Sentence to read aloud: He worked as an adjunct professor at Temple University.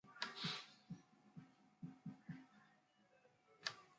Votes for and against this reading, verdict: 0, 2, rejected